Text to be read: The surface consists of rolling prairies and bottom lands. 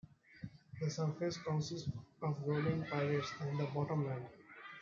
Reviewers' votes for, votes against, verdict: 1, 2, rejected